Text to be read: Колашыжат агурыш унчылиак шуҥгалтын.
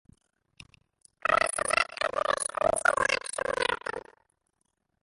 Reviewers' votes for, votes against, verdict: 0, 2, rejected